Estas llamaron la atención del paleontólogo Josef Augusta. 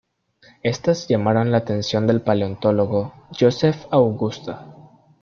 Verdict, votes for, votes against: accepted, 2, 0